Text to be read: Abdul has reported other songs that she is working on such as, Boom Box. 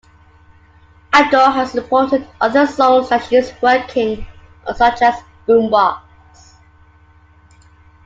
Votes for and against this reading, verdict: 1, 2, rejected